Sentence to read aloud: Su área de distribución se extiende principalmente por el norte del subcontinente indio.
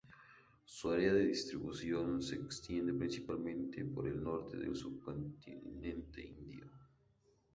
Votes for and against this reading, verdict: 2, 2, rejected